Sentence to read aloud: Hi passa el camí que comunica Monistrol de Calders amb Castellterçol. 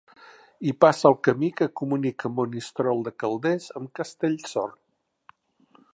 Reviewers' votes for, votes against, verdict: 1, 3, rejected